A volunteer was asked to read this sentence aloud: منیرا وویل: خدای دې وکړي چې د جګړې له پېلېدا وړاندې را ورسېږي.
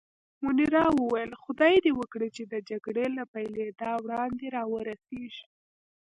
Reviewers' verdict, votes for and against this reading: rejected, 0, 2